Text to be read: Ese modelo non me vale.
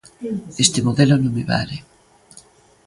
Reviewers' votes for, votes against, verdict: 0, 2, rejected